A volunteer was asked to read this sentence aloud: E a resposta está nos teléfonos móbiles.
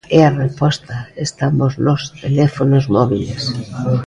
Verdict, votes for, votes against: rejected, 0, 2